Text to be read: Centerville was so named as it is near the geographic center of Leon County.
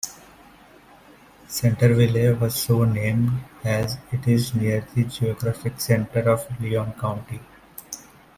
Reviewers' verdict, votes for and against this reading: accepted, 2, 1